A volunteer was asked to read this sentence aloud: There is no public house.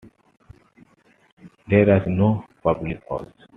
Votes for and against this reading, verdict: 2, 1, accepted